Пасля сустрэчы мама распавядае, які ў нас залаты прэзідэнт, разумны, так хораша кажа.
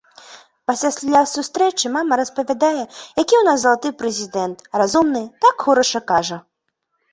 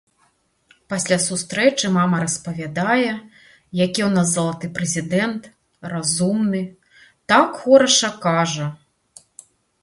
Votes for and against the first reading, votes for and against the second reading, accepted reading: 0, 2, 2, 0, second